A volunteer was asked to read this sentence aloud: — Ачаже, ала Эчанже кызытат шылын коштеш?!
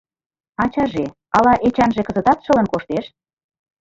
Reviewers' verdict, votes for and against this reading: rejected, 1, 2